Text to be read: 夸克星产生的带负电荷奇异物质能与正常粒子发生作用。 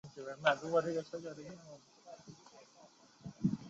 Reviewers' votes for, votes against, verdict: 0, 2, rejected